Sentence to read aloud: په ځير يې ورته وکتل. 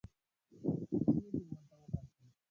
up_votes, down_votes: 0, 2